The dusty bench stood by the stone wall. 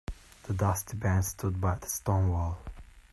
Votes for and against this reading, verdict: 2, 1, accepted